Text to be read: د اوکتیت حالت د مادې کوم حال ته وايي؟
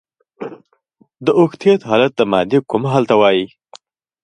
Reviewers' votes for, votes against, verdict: 2, 1, accepted